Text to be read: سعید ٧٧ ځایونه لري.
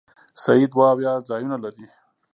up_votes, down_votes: 0, 2